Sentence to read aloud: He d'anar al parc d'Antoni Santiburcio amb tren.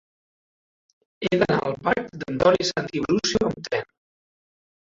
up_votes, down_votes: 1, 2